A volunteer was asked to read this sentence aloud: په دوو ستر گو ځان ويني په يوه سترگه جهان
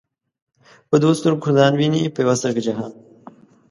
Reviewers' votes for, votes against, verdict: 2, 0, accepted